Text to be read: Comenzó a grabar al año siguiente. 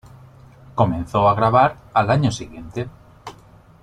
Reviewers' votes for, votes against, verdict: 2, 0, accepted